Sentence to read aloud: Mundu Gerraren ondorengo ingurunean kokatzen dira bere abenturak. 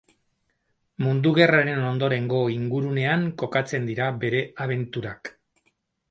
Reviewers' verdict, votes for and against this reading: accepted, 2, 0